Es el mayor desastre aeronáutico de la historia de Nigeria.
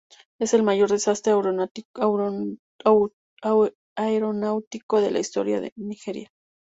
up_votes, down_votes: 0, 2